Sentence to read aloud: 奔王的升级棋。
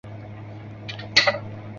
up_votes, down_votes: 0, 3